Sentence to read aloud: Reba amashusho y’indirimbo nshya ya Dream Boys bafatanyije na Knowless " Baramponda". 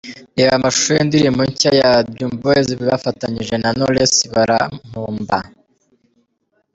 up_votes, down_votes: 2, 1